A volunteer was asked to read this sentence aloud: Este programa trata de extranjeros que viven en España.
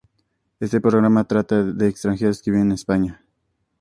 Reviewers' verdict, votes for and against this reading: accepted, 2, 0